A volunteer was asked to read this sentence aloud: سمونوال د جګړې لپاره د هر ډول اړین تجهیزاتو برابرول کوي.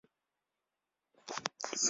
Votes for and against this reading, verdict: 0, 2, rejected